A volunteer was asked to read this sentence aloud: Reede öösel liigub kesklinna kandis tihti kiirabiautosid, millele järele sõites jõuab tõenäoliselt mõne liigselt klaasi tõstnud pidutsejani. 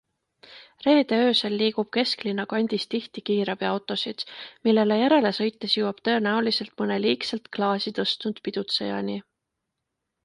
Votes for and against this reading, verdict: 2, 0, accepted